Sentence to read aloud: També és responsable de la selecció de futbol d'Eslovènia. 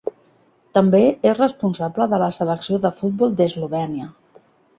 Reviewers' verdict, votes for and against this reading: rejected, 1, 2